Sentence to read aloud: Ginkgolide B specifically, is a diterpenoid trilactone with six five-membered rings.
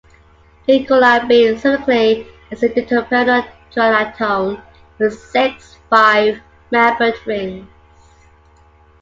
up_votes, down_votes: 2, 0